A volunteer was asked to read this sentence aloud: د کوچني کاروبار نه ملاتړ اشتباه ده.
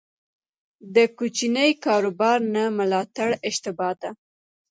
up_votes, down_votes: 2, 0